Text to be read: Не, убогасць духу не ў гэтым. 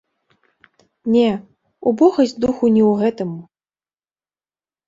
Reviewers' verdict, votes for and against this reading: rejected, 0, 2